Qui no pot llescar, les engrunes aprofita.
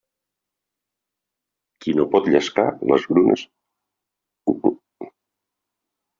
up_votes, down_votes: 0, 2